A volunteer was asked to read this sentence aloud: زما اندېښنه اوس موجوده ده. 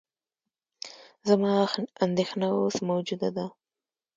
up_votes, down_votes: 2, 0